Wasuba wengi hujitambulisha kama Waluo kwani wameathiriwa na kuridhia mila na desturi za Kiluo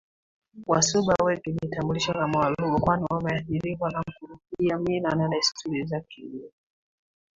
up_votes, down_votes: 0, 2